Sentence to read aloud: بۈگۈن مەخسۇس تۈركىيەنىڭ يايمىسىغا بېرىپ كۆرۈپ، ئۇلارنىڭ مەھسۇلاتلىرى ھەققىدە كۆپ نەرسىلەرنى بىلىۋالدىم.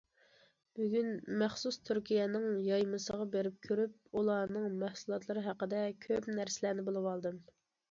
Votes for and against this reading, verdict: 2, 1, accepted